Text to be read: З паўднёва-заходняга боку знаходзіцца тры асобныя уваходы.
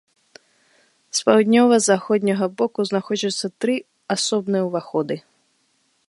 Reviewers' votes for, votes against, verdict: 1, 2, rejected